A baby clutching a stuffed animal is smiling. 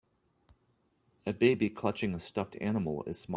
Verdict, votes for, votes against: rejected, 1, 2